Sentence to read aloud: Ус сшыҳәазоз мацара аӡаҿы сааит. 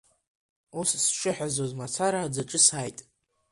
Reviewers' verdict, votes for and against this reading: accepted, 2, 0